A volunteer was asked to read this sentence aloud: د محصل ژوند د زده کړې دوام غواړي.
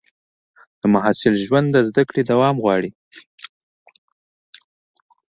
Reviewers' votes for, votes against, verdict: 2, 0, accepted